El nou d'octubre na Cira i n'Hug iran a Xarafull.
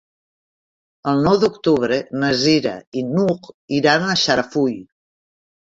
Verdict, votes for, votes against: rejected, 0, 2